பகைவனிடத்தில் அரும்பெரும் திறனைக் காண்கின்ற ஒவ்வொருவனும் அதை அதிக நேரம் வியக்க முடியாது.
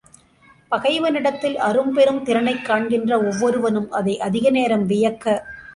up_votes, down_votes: 0, 2